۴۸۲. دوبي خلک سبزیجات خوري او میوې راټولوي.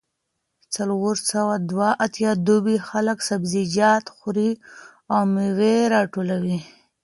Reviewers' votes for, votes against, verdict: 0, 2, rejected